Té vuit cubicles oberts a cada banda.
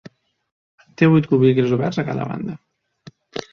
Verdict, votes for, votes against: rejected, 2, 4